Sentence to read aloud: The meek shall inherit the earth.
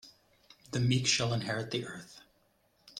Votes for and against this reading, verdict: 2, 0, accepted